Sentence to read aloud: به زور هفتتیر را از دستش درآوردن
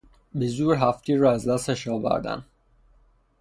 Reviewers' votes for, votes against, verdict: 3, 3, rejected